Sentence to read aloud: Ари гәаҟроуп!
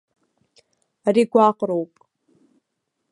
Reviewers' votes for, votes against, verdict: 2, 1, accepted